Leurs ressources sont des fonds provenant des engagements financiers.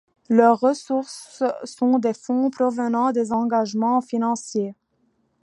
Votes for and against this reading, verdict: 2, 0, accepted